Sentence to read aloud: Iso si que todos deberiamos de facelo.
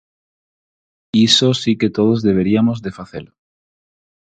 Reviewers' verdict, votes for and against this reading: rejected, 0, 4